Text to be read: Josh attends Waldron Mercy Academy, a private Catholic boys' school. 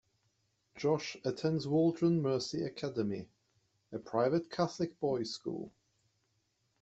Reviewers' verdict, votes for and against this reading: accepted, 2, 0